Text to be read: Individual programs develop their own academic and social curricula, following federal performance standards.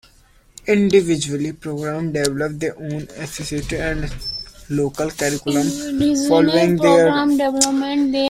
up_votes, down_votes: 0, 2